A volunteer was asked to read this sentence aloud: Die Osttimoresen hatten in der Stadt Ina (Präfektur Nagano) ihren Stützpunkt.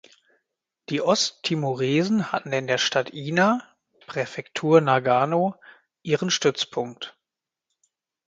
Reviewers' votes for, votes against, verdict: 2, 0, accepted